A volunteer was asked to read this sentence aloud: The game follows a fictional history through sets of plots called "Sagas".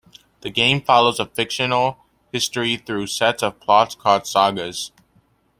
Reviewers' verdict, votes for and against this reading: accepted, 2, 0